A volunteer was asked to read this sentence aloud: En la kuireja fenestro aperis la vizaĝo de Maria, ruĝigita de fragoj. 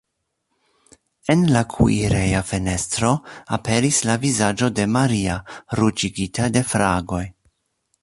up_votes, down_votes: 2, 0